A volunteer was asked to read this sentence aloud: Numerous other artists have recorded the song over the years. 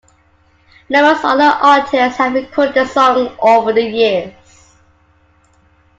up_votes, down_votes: 0, 2